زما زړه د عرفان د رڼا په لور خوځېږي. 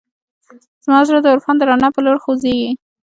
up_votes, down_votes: 2, 0